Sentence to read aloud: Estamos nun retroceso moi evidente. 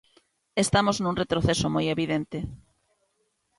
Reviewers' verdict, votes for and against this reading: accepted, 2, 0